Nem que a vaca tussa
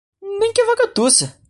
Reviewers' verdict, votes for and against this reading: rejected, 0, 2